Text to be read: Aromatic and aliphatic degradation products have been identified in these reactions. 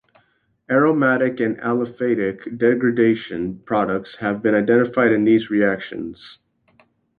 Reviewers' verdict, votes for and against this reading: accepted, 2, 0